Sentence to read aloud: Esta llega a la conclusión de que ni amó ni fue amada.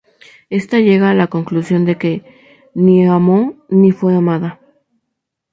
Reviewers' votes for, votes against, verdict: 2, 0, accepted